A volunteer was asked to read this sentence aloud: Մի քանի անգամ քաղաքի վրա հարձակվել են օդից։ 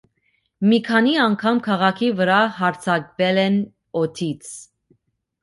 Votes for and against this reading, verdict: 2, 0, accepted